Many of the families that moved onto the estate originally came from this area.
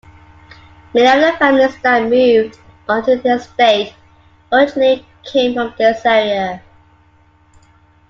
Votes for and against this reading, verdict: 2, 0, accepted